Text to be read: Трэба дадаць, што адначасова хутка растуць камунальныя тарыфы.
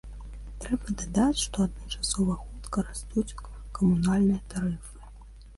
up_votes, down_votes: 1, 3